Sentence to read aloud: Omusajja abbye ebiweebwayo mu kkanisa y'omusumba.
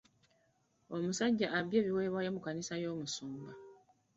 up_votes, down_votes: 0, 2